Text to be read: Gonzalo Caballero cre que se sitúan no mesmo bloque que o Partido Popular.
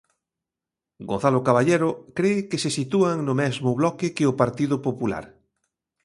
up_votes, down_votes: 2, 0